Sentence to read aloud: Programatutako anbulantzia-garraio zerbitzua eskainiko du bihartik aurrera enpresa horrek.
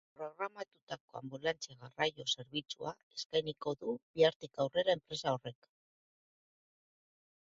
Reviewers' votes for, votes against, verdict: 1, 2, rejected